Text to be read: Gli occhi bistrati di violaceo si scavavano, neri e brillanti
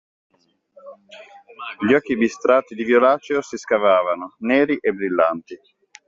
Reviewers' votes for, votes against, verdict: 2, 0, accepted